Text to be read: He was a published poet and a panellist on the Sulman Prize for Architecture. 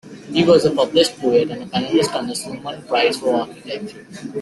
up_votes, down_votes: 2, 0